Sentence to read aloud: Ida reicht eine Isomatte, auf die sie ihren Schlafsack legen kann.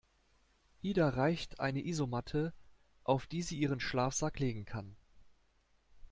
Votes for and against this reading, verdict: 2, 0, accepted